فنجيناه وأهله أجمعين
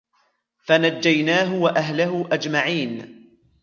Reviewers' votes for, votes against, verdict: 2, 0, accepted